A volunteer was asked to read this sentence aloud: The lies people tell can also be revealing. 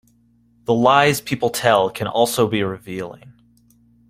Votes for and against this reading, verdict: 2, 0, accepted